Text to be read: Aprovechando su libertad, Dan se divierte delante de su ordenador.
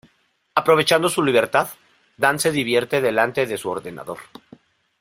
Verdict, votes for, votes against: accepted, 3, 0